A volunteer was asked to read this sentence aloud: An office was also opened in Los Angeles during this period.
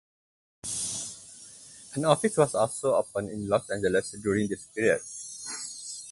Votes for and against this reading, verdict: 4, 2, accepted